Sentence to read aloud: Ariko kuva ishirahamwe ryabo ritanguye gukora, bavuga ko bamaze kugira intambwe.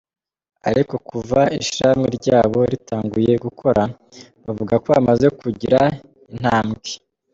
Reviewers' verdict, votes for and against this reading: accepted, 2, 0